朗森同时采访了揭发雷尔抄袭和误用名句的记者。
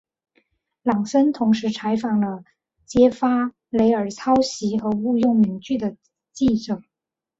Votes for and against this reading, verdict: 3, 0, accepted